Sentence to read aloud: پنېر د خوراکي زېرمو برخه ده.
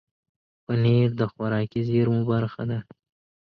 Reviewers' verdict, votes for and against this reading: accepted, 2, 0